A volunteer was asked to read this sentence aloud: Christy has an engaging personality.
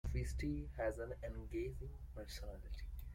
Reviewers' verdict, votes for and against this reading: rejected, 1, 2